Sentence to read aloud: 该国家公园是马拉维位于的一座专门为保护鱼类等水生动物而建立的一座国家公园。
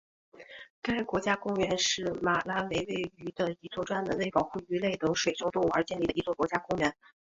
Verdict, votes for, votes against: accepted, 3, 0